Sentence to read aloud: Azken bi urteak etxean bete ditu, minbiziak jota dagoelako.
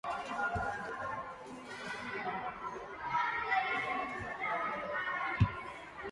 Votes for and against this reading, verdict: 0, 2, rejected